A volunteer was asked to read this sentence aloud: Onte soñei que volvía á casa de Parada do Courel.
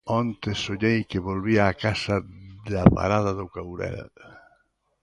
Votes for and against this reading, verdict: 1, 2, rejected